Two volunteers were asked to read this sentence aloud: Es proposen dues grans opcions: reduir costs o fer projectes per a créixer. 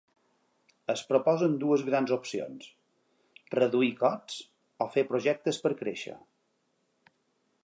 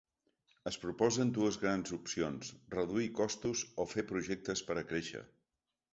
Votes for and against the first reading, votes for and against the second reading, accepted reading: 2, 1, 0, 2, first